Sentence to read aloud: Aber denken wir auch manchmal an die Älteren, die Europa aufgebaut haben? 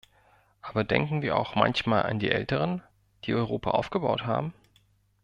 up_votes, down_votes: 2, 0